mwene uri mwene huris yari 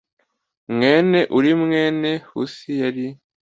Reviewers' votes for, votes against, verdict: 2, 0, accepted